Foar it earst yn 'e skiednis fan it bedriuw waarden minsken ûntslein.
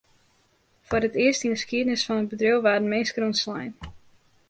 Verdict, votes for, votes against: accepted, 2, 0